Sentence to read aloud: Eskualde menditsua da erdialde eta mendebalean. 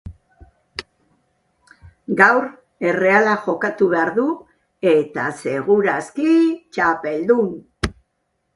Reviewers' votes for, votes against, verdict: 0, 2, rejected